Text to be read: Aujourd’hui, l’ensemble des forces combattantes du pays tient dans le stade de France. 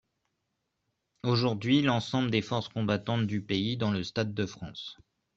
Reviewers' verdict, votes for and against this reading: rejected, 0, 2